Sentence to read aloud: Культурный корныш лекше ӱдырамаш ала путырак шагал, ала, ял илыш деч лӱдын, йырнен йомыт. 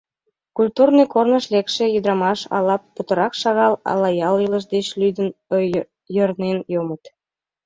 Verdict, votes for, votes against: rejected, 1, 3